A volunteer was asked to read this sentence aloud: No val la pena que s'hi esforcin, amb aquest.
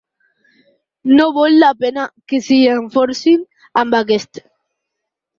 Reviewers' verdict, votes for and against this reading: rejected, 2, 4